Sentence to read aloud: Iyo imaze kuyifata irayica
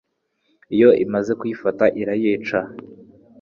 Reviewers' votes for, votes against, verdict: 2, 0, accepted